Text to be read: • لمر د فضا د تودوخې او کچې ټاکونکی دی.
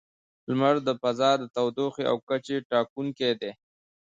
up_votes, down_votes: 2, 0